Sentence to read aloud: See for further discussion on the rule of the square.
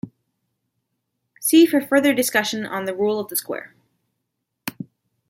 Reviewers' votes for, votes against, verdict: 1, 2, rejected